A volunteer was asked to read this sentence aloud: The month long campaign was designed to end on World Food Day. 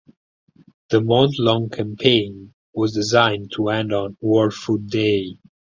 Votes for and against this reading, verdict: 4, 2, accepted